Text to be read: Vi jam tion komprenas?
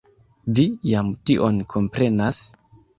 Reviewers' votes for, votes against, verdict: 2, 1, accepted